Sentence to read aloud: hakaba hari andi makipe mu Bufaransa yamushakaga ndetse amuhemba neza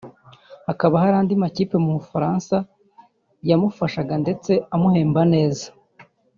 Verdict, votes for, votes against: rejected, 1, 2